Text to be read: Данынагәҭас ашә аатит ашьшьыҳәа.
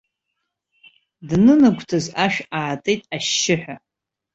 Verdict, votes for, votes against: accepted, 2, 0